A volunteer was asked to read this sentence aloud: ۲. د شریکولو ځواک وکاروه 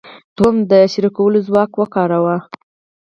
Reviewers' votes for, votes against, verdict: 0, 2, rejected